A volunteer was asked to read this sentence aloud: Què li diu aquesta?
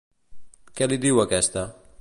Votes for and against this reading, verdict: 2, 0, accepted